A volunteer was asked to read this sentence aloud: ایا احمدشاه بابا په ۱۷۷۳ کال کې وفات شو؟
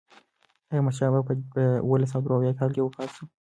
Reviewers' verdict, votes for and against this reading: rejected, 0, 2